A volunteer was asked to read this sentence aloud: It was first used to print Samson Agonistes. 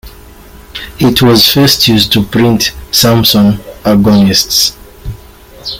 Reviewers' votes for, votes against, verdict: 2, 1, accepted